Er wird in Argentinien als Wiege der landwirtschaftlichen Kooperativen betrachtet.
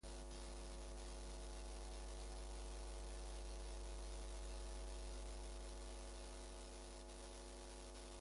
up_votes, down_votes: 0, 2